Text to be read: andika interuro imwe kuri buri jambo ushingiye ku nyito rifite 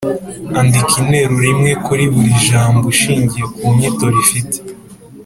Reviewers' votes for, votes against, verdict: 2, 0, accepted